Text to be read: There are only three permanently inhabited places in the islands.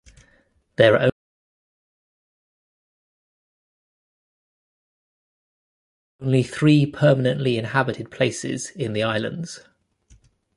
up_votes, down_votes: 0, 2